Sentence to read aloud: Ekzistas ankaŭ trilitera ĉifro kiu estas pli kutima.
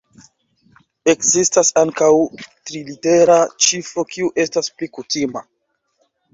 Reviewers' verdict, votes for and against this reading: accepted, 4, 3